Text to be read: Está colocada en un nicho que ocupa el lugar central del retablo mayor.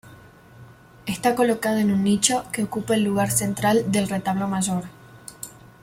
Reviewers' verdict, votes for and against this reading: accepted, 2, 0